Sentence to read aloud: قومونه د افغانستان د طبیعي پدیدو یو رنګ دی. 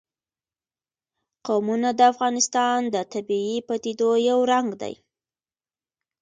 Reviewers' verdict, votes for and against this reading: accepted, 2, 0